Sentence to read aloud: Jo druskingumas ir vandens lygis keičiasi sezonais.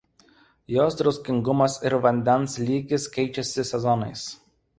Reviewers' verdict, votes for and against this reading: rejected, 1, 2